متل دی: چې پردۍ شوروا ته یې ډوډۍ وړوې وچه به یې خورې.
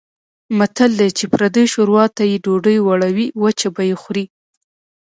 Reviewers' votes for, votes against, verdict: 2, 0, accepted